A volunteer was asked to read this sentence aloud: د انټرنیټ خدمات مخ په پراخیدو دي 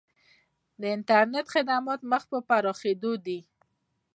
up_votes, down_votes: 2, 0